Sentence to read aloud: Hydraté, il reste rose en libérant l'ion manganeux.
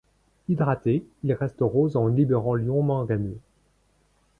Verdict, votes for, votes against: accepted, 2, 0